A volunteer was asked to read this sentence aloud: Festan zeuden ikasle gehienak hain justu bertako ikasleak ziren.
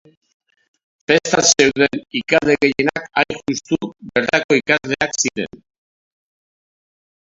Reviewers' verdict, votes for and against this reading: rejected, 0, 2